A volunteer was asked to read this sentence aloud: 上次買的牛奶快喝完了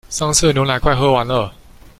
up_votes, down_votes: 0, 2